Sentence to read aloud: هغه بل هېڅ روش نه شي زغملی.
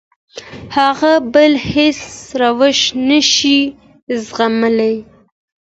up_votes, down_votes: 2, 0